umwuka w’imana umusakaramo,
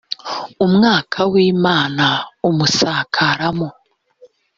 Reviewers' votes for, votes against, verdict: 0, 2, rejected